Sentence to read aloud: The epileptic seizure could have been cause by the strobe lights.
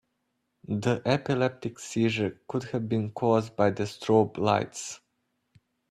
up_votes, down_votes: 2, 0